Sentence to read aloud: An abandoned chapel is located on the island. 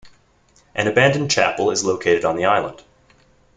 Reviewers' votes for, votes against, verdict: 1, 2, rejected